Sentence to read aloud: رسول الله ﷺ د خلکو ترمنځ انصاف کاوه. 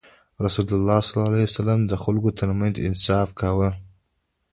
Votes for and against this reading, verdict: 2, 0, accepted